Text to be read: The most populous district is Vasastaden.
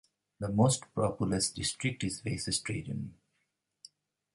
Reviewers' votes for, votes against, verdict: 0, 2, rejected